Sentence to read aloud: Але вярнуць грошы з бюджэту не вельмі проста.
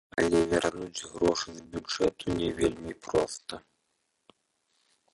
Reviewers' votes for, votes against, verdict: 1, 3, rejected